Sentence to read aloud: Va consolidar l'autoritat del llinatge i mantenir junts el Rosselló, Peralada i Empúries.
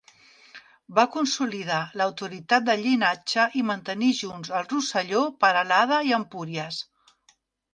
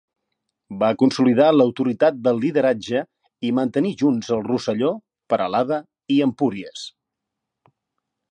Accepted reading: first